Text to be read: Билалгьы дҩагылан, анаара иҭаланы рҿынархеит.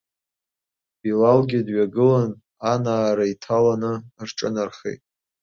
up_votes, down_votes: 2, 0